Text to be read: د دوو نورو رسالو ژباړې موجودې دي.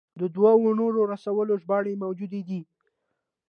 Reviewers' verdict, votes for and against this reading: rejected, 0, 2